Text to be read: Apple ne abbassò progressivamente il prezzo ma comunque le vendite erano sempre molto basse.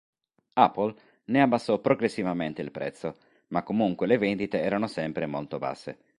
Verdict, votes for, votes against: accepted, 3, 0